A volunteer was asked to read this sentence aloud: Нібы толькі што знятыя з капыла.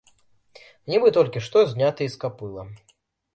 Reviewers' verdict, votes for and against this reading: accepted, 2, 0